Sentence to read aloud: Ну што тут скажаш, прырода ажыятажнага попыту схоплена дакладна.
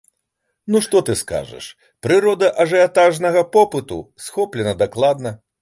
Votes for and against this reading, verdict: 0, 2, rejected